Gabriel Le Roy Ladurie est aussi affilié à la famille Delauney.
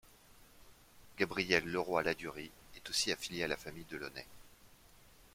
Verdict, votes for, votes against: accepted, 2, 0